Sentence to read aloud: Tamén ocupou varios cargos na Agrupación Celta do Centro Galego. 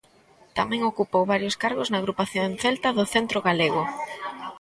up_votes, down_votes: 2, 0